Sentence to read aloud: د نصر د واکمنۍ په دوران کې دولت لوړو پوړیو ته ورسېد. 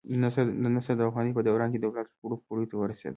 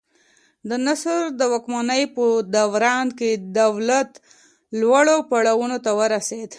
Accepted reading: second